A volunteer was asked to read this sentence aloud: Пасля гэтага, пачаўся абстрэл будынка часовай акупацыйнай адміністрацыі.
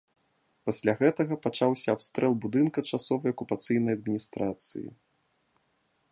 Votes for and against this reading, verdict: 2, 0, accepted